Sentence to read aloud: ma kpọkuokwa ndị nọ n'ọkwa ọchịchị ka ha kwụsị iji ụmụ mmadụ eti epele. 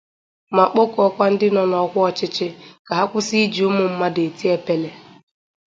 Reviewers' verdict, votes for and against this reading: accepted, 2, 0